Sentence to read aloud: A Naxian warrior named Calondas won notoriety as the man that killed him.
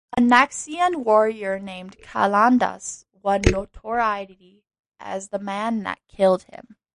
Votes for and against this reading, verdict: 1, 2, rejected